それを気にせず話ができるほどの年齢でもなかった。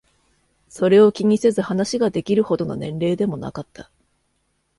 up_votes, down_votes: 2, 0